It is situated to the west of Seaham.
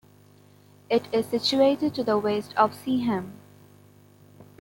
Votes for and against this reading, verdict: 2, 0, accepted